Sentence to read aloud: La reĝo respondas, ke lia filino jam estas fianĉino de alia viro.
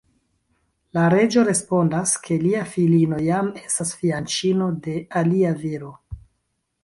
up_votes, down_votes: 2, 0